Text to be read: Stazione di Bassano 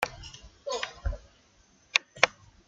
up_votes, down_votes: 0, 2